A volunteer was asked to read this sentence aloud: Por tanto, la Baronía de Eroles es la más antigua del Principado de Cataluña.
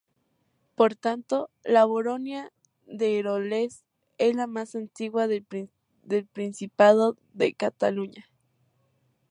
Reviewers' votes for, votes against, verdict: 0, 2, rejected